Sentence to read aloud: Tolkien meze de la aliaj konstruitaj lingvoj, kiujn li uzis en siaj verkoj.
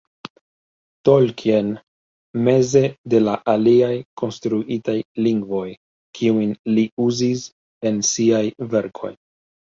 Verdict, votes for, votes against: accepted, 2, 1